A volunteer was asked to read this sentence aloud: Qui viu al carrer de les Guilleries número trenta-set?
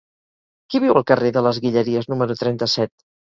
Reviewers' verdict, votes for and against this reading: accepted, 4, 0